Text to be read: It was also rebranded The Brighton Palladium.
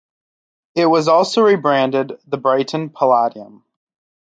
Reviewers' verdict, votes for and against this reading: accepted, 2, 0